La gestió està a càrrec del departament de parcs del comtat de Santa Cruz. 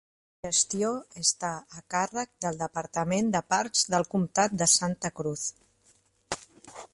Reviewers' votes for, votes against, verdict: 1, 2, rejected